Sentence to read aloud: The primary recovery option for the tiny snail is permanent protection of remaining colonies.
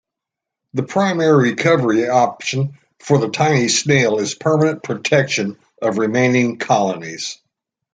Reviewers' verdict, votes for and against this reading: rejected, 1, 2